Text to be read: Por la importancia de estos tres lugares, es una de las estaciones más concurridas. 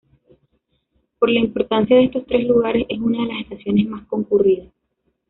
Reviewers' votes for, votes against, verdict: 2, 1, accepted